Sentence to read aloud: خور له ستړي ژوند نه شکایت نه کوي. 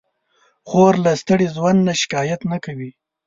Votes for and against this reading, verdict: 2, 0, accepted